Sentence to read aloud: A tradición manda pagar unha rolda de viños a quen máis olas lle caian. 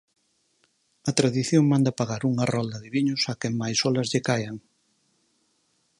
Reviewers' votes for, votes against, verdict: 4, 0, accepted